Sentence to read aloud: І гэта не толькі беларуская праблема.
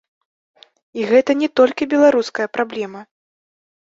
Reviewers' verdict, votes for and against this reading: accepted, 2, 1